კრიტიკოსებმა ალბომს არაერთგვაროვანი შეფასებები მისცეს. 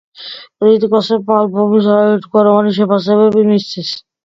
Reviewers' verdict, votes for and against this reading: accepted, 2, 1